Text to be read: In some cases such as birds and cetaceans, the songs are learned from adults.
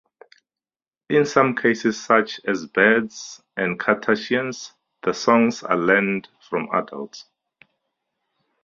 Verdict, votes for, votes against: rejected, 2, 2